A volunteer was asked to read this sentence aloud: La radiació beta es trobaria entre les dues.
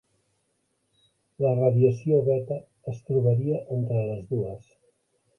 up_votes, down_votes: 3, 1